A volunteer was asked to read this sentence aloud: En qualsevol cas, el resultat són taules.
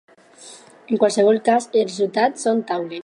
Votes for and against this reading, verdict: 2, 4, rejected